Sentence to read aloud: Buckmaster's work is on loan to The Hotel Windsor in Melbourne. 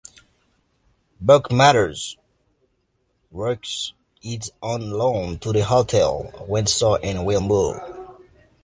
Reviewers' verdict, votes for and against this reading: rejected, 0, 2